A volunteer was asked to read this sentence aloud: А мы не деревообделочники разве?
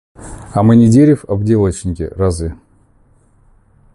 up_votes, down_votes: 1, 2